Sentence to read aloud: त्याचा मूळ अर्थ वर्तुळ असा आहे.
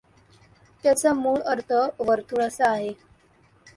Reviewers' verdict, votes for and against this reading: accepted, 2, 1